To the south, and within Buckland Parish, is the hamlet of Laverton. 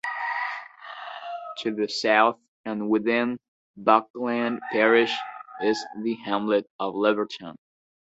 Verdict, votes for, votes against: rejected, 0, 2